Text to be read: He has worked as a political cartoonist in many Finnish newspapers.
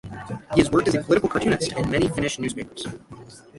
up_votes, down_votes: 6, 0